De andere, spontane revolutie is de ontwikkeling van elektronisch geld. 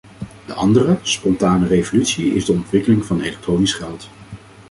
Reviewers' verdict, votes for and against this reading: rejected, 1, 2